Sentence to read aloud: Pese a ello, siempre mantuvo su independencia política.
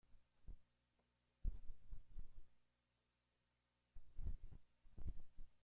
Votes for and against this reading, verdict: 0, 2, rejected